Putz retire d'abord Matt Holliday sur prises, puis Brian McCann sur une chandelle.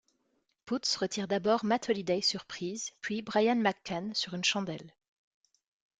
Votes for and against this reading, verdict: 2, 0, accepted